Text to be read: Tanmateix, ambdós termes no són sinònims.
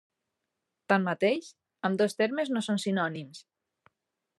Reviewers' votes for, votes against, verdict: 3, 0, accepted